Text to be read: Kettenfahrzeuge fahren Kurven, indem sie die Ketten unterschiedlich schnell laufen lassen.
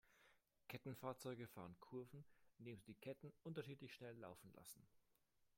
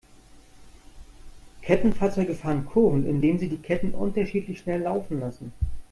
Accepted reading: second